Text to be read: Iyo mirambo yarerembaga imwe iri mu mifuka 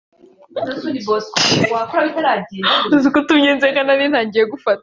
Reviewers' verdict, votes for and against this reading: rejected, 0, 2